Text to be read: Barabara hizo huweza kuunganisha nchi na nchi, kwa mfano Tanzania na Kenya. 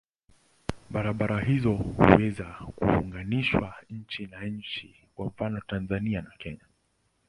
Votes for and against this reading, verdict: 0, 2, rejected